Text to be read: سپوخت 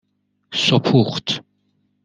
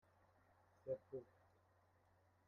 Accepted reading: first